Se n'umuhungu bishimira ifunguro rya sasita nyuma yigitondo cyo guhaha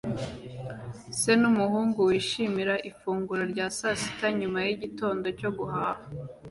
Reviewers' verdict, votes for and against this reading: rejected, 0, 2